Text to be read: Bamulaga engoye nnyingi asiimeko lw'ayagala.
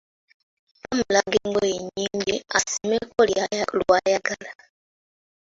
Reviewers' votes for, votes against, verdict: 0, 2, rejected